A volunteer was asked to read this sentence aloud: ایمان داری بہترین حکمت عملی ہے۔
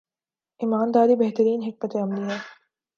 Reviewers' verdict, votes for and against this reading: accepted, 2, 0